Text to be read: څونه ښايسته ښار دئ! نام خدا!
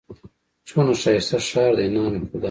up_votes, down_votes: 1, 2